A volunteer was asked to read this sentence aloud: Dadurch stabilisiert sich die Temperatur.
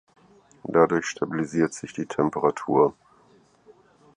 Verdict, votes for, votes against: accepted, 4, 0